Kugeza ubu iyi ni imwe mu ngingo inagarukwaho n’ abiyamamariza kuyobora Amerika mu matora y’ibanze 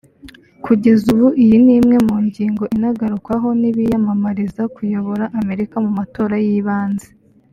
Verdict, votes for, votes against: accepted, 2, 1